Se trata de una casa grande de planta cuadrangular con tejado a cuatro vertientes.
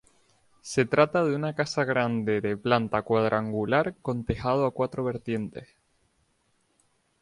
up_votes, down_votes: 2, 0